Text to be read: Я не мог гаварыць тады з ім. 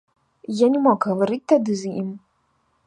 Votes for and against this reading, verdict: 1, 2, rejected